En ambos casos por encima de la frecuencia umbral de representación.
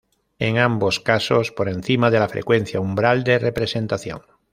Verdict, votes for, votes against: accepted, 2, 0